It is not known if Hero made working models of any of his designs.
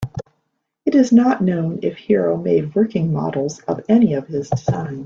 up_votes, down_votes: 0, 2